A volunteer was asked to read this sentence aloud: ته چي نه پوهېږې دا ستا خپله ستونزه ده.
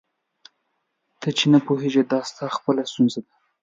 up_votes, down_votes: 2, 0